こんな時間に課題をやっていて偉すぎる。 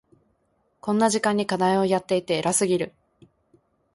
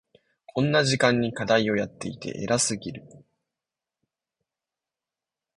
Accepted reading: second